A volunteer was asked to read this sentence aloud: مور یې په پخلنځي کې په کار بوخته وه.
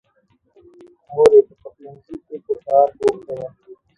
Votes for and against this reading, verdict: 2, 3, rejected